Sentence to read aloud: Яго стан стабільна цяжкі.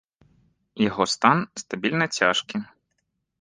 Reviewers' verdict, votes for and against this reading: accepted, 2, 0